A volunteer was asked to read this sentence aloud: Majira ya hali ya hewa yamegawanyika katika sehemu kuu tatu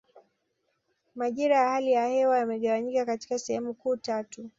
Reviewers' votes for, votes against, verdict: 2, 0, accepted